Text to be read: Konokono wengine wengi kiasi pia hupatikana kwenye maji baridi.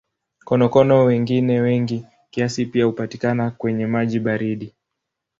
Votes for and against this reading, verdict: 2, 0, accepted